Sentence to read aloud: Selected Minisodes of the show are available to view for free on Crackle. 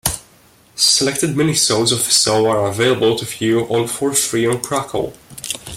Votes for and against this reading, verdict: 2, 1, accepted